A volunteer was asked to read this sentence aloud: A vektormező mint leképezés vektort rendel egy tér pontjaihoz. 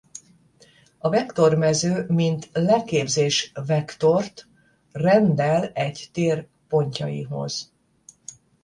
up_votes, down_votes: 0, 10